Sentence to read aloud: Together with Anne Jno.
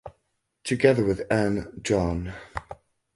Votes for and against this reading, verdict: 2, 4, rejected